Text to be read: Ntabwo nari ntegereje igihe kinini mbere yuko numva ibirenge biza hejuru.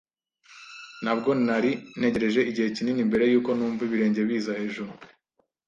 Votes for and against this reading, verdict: 2, 0, accepted